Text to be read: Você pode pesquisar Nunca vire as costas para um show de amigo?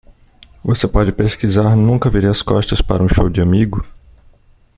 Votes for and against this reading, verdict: 2, 0, accepted